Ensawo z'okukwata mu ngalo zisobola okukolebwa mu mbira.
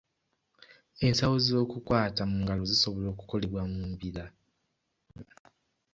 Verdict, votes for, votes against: accepted, 3, 2